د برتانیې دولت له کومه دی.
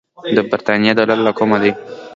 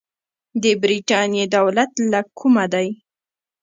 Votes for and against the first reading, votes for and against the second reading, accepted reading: 2, 0, 1, 2, first